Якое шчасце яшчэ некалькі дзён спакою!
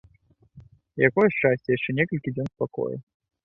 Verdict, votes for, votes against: accepted, 2, 0